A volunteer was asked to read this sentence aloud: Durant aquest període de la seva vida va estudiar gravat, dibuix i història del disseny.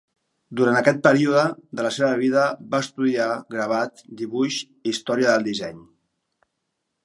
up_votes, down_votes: 3, 0